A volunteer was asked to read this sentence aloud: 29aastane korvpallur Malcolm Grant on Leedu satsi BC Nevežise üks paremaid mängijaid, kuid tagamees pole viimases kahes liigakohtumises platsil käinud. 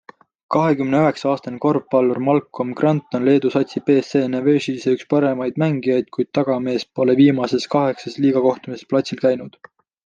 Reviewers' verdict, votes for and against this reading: rejected, 0, 2